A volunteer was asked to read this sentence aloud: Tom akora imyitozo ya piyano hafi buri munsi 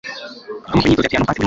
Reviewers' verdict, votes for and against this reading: rejected, 1, 2